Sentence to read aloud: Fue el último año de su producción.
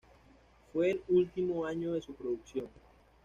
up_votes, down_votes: 1, 2